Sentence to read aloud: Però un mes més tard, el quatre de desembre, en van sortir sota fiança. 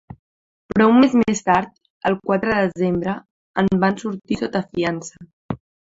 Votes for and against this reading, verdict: 1, 2, rejected